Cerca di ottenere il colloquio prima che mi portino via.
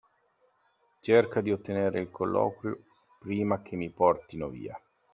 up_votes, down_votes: 2, 0